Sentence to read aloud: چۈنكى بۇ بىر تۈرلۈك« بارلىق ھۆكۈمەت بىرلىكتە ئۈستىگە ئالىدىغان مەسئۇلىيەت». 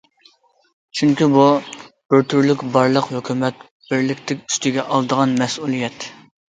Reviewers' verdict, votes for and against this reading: accepted, 2, 0